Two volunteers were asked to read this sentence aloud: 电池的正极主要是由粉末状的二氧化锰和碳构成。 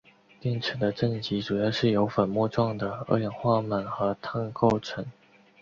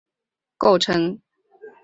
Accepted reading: first